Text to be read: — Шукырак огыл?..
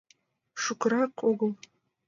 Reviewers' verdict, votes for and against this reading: accepted, 2, 0